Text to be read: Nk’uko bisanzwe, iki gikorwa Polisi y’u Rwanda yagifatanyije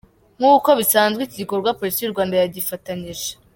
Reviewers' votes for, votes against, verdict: 2, 0, accepted